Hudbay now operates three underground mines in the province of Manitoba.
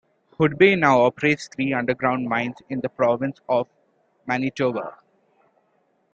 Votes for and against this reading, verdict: 2, 0, accepted